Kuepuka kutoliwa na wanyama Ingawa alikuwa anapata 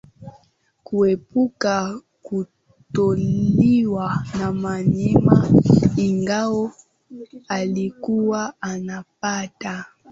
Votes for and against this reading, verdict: 3, 2, accepted